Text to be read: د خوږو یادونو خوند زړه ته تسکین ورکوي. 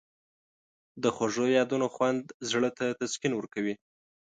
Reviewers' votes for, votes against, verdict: 2, 0, accepted